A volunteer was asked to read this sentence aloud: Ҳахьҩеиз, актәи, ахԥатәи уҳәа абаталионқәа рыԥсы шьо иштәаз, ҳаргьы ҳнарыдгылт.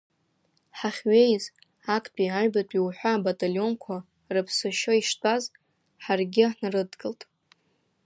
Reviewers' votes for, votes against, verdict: 2, 1, accepted